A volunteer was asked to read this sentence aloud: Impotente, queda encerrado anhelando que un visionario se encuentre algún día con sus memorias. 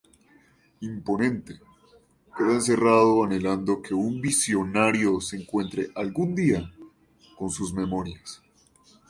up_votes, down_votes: 0, 2